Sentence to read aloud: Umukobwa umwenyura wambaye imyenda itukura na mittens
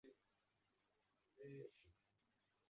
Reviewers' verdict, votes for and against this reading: rejected, 0, 2